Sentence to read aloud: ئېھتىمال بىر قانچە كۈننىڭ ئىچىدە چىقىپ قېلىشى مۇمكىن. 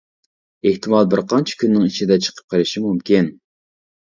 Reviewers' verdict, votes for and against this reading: accepted, 2, 0